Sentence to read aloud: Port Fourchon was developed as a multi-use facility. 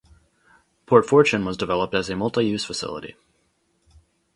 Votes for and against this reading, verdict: 0, 2, rejected